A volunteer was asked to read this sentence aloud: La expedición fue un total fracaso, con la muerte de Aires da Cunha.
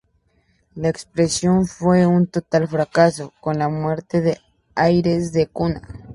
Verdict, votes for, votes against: rejected, 0, 2